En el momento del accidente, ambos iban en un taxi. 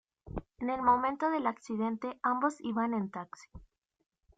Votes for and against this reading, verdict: 1, 2, rejected